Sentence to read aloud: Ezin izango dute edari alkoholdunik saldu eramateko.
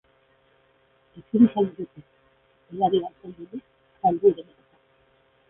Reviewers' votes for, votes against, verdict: 0, 2, rejected